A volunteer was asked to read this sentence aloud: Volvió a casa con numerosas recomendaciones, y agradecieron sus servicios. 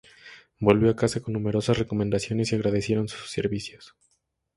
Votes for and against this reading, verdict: 2, 0, accepted